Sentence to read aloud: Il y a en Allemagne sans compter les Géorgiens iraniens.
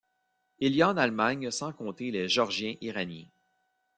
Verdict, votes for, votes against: rejected, 0, 2